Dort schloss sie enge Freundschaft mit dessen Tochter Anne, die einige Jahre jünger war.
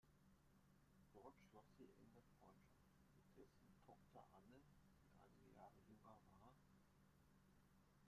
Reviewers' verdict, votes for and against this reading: rejected, 0, 2